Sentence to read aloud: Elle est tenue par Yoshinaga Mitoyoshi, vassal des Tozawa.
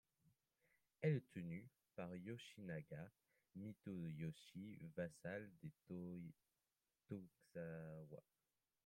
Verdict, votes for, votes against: rejected, 0, 2